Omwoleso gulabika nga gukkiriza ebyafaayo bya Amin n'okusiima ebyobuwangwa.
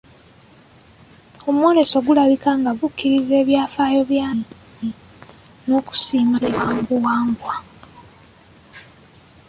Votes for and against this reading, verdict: 0, 2, rejected